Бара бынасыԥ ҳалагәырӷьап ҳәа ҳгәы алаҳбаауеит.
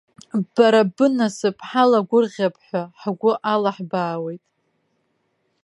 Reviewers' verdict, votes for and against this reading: accepted, 2, 0